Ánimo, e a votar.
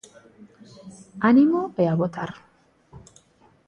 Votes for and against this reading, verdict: 2, 0, accepted